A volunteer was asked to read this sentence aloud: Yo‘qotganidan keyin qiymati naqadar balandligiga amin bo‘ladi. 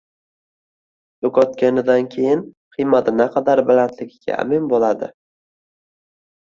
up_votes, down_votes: 2, 0